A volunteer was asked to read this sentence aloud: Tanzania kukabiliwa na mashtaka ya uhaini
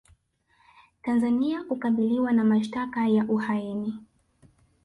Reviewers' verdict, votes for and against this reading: accepted, 2, 0